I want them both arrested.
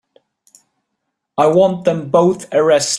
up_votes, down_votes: 0, 3